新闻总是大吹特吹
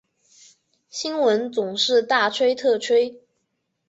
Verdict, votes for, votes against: rejected, 1, 2